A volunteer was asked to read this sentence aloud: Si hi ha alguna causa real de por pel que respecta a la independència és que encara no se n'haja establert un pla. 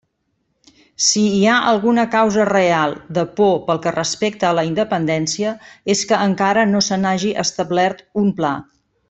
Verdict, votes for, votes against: rejected, 0, 2